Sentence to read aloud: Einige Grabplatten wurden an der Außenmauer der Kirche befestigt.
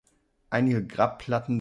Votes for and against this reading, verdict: 0, 3, rejected